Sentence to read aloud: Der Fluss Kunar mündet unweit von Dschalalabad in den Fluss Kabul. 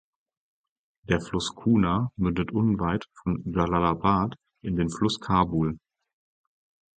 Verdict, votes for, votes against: accepted, 4, 2